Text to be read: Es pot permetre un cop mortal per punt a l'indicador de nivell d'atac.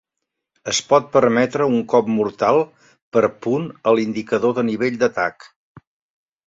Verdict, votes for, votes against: accepted, 2, 0